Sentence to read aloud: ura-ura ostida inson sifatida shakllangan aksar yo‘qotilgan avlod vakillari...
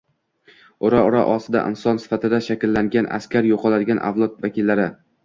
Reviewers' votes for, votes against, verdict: 0, 2, rejected